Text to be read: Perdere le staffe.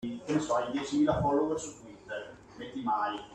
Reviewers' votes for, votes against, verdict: 0, 2, rejected